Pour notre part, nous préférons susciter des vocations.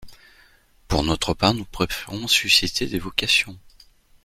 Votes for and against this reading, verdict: 1, 2, rejected